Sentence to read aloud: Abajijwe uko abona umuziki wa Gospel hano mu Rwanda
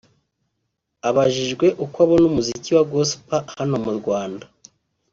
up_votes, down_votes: 3, 0